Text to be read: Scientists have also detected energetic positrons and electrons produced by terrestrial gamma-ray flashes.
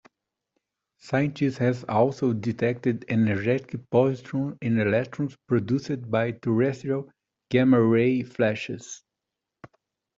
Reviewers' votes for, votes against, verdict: 0, 2, rejected